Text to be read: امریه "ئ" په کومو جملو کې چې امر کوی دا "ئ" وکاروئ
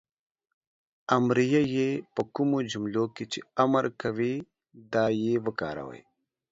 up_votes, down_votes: 2, 0